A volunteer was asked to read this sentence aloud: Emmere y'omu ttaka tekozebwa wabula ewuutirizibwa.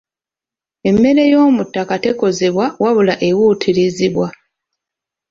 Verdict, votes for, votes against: accepted, 2, 1